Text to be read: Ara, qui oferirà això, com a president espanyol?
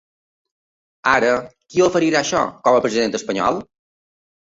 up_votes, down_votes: 3, 0